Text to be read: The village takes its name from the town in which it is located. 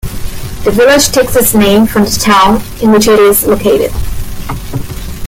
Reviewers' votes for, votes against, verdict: 2, 1, accepted